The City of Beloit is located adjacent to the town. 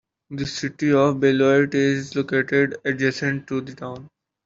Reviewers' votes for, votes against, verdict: 2, 0, accepted